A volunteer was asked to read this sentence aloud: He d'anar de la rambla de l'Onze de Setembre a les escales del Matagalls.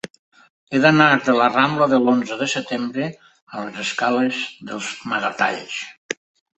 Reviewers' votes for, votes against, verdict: 0, 2, rejected